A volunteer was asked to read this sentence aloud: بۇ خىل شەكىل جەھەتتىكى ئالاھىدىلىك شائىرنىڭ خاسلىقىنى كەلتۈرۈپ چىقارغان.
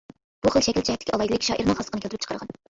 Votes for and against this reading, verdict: 0, 2, rejected